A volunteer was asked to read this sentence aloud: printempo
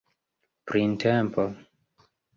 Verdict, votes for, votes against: accepted, 2, 0